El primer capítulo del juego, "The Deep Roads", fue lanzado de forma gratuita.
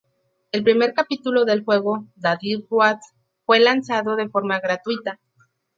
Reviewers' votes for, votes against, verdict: 2, 0, accepted